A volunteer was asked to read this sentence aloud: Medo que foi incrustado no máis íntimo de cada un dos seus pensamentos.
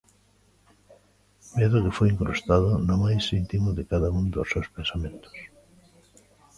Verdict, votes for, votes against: rejected, 1, 2